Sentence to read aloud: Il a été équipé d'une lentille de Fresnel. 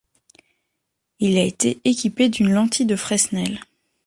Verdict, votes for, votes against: rejected, 1, 2